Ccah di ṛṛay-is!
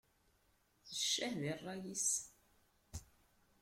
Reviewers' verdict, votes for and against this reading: rejected, 1, 2